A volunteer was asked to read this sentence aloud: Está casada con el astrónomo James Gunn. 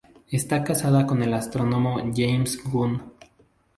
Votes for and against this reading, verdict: 2, 0, accepted